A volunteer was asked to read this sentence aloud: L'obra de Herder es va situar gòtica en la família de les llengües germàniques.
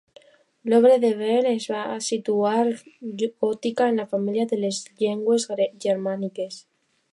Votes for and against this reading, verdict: 1, 2, rejected